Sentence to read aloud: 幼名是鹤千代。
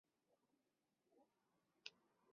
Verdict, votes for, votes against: rejected, 0, 3